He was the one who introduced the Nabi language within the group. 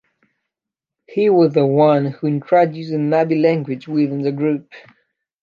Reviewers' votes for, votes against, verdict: 2, 0, accepted